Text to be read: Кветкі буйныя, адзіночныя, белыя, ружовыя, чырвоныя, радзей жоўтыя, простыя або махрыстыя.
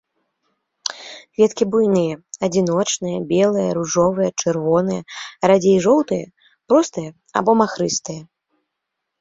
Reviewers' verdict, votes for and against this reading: accepted, 2, 1